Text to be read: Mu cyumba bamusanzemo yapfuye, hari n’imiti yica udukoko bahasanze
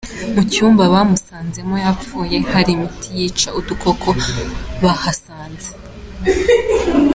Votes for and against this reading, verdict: 2, 0, accepted